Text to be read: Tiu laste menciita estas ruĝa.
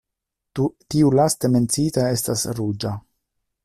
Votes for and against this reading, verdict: 0, 2, rejected